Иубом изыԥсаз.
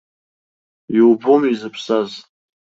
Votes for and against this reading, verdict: 2, 0, accepted